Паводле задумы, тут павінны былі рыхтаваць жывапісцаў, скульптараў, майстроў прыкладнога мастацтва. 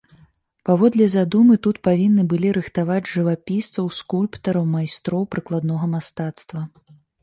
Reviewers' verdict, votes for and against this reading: accepted, 3, 0